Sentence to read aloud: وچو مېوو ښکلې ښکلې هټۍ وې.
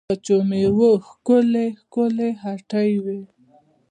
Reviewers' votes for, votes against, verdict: 2, 0, accepted